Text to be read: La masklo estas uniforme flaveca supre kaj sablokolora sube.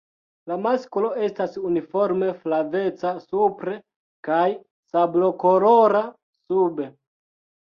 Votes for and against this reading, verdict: 2, 0, accepted